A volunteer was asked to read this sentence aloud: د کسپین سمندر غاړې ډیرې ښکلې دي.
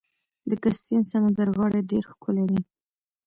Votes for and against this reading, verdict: 2, 0, accepted